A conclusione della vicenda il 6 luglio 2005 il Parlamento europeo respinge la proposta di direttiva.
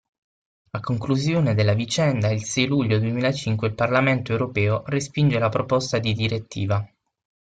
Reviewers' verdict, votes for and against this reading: rejected, 0, 2